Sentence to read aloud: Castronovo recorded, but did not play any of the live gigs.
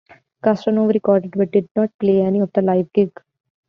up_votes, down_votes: 1, 2